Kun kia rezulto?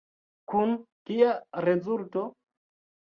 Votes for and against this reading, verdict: 2, 0, accepted